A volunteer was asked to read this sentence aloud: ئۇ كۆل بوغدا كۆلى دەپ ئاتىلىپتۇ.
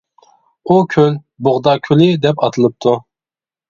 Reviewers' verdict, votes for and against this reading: rejected, 1, 2